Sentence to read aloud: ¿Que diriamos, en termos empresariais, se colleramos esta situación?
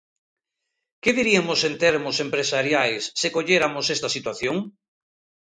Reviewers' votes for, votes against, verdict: 0, 2, rejected